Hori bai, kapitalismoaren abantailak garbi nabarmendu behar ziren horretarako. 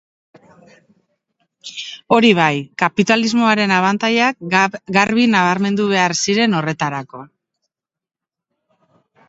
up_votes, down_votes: 2, 2